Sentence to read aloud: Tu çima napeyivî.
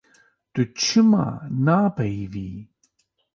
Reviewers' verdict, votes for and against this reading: accepted, 2, 0